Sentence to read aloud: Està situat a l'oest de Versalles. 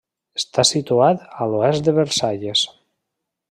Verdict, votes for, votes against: accepted, 3, 0